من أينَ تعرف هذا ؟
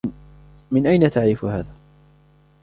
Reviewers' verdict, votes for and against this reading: accepted, 2, 0